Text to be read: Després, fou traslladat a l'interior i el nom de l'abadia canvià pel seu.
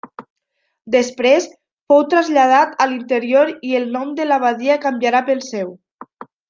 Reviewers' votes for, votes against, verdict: 1, 2, rejected